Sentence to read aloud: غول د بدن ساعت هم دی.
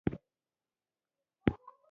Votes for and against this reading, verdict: 0, 2, rejected